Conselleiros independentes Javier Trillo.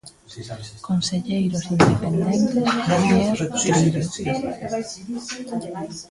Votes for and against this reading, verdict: 0, 2, rejected